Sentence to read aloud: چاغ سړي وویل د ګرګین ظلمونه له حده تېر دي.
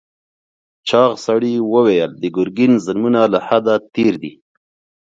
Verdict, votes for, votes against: accepted, 4, 0